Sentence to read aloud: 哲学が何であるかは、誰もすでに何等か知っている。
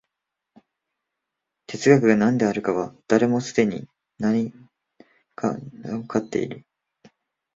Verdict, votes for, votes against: rejected, 2, 3